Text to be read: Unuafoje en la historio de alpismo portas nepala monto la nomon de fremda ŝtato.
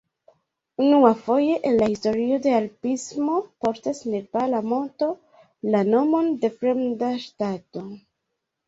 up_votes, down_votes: 2, 0